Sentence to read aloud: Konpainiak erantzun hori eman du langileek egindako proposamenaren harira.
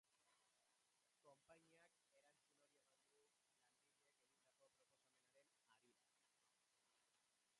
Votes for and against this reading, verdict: 0, 5, rejected